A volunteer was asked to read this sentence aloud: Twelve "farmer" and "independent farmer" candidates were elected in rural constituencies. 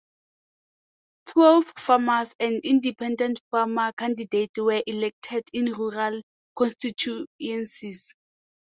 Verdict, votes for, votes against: rejected, 0, 2